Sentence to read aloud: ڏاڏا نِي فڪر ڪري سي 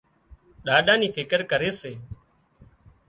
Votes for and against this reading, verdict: 2, 0, accepted